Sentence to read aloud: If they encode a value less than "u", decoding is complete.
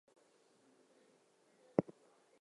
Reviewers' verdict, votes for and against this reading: rejected, 0, 2